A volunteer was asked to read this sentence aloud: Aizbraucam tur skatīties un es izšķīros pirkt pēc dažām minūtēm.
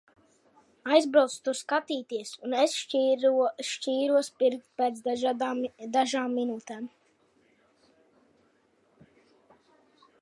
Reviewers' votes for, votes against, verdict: 0, 2, rejected